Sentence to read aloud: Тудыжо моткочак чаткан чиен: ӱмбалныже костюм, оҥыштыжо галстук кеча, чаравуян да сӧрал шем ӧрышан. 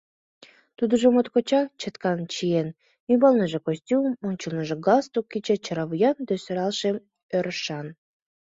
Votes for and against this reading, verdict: 2, 1, accepted